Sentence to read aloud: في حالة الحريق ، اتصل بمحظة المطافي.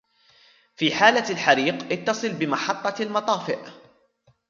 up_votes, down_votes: 0, 2